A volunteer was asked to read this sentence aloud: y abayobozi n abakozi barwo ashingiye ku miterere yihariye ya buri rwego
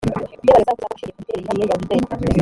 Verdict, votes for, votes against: rejected, 0, 2